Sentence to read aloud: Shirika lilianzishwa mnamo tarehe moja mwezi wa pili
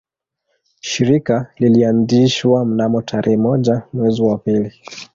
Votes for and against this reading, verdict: 1, 2, rejected